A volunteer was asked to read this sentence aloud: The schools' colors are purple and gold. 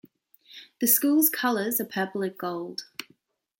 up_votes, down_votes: 0, 2